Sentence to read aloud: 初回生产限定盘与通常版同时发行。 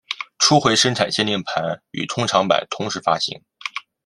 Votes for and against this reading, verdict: 2, 0, accepted